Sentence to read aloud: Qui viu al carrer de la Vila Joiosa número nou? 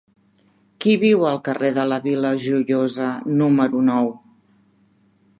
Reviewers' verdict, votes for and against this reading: accepted, 3, 0